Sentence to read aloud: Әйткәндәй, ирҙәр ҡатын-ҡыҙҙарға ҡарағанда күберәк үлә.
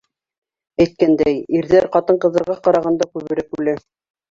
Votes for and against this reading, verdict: 2, 0, accepted